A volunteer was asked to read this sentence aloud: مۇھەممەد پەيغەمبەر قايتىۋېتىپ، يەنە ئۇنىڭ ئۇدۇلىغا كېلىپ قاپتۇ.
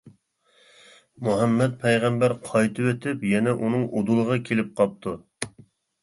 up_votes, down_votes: 2, 0